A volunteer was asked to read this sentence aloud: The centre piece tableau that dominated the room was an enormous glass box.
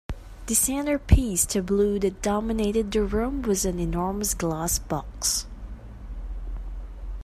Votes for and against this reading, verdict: 1, 2, rejected